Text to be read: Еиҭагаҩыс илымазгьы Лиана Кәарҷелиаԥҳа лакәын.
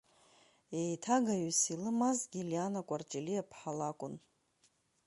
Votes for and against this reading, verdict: 2, 0, accepted